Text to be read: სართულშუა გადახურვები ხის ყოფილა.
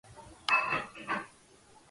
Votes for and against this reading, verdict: 0, 2, rejected